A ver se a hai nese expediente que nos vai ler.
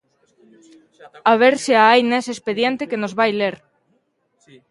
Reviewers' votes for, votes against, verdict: 0, 2, rejected